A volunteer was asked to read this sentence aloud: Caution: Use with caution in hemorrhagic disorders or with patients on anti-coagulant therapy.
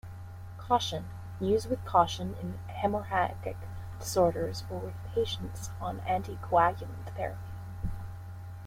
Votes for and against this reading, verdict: 1, 2, rejected